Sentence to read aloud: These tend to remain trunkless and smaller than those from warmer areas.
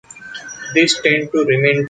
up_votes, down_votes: 0, 2